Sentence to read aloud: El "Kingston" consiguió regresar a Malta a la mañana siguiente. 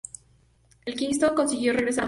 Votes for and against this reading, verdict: 0, 2, rejected